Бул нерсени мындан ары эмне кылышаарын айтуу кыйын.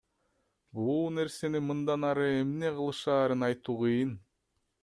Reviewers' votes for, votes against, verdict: 2, 0, accepted